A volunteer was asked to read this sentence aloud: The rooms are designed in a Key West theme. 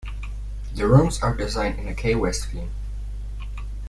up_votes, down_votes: 0, 2